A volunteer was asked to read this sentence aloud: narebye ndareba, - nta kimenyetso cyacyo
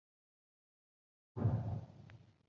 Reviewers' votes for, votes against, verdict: 0, 2, rejected